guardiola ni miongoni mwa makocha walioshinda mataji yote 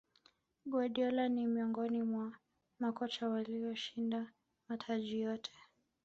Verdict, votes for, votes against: accepted, 2, 0